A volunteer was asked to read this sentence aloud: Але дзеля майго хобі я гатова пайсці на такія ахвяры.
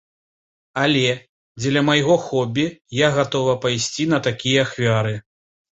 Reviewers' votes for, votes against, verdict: 2, 0, accepted